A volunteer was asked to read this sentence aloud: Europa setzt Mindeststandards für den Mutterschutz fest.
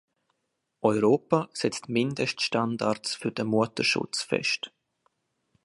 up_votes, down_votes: 2, 0